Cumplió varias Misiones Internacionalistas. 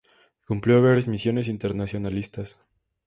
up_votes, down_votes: 2, 0